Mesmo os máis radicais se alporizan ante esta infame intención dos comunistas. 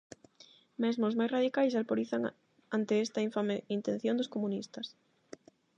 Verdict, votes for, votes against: rejected, 4, 4